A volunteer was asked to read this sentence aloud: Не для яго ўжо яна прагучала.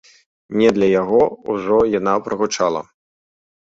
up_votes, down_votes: 3, 0